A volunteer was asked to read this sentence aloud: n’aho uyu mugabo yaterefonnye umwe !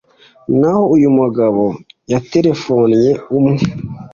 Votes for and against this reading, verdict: 2, 0, accepted